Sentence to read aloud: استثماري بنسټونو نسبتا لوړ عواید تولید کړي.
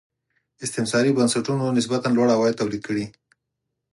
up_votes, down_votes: 4, 0